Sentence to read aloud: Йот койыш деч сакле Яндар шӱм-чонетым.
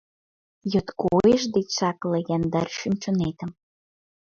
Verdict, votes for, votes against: rejected, 1, 5